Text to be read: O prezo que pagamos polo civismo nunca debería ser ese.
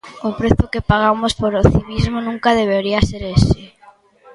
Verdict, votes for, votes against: rejected, 1, 2